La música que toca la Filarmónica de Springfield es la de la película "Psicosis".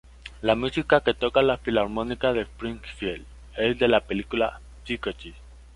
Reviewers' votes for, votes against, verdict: 0, 2, rejected